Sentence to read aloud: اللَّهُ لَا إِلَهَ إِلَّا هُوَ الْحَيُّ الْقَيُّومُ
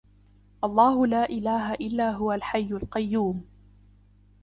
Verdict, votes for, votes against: accepted, 2, 0